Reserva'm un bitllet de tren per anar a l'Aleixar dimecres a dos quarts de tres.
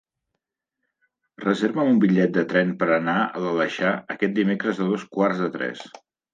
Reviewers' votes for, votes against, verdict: 0, 2, rejected